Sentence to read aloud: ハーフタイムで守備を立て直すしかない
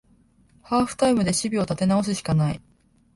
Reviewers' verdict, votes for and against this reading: accepted, 3, 0